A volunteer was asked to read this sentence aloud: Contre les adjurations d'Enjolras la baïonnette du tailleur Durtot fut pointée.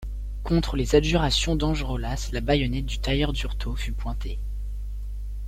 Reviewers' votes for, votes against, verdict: 0, 2, rejected